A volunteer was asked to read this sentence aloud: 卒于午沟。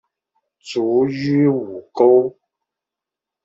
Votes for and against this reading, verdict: 2, 0, accepted